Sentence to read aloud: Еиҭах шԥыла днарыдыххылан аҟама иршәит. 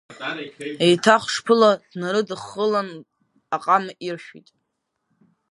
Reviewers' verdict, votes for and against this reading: rejected, 1, 2